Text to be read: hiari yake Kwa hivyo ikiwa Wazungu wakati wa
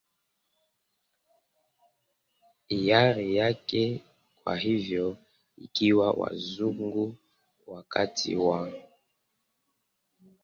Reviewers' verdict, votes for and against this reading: rejected, 0, 2